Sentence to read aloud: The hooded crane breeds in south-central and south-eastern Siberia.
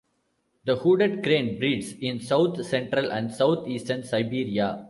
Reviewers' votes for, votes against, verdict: 2, 0, accepted